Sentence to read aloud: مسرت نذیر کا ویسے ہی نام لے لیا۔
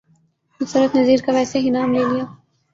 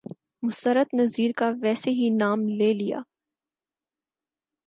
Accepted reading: second